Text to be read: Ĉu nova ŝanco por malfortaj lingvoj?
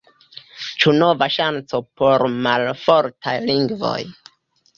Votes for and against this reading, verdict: 2, 1, accepted